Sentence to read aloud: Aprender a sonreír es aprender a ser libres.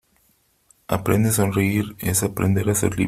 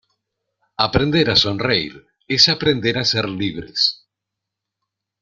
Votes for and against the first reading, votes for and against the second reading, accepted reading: 0, 3, 2, 0, second